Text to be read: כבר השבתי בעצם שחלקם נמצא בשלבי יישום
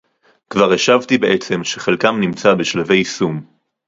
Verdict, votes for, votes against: accepted, 4, 0